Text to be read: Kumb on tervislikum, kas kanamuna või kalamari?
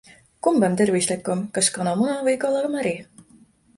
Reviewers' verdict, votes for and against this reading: accepted, 2, 0